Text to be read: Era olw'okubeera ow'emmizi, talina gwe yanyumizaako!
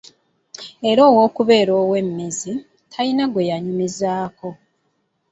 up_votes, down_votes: 0, 2